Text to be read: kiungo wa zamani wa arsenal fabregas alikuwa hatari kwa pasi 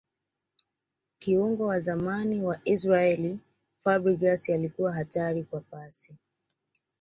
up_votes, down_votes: 0, 2